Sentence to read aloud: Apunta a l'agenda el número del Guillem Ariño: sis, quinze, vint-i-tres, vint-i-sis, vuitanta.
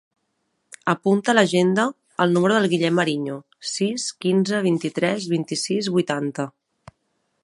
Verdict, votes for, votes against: accepted, 2, 0